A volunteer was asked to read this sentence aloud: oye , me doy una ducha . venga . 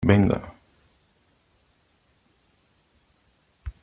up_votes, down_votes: 0, 3